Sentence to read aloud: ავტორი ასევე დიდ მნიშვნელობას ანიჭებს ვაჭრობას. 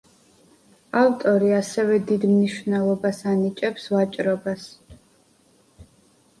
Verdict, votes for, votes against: accepted, 2, 0